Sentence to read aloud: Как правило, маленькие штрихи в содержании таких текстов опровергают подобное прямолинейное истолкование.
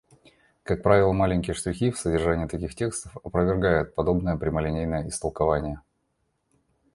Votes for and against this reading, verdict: 2, 0, accepted